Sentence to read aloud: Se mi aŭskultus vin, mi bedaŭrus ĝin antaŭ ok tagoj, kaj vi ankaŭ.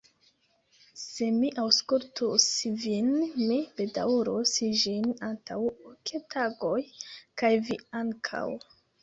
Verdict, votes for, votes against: rejected, 0, 2